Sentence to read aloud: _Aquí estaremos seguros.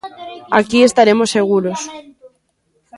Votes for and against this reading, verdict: 1, 2, rejected